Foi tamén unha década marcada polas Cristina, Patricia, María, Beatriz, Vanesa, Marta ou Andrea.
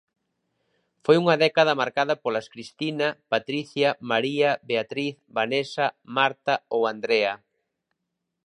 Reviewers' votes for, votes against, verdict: 1, 2, rejected